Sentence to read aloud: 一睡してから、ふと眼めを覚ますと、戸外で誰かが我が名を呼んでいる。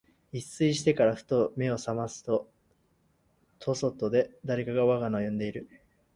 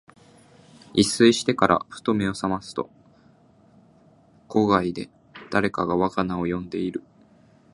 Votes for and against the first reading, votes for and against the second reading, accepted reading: 0, 2, 2, 0, second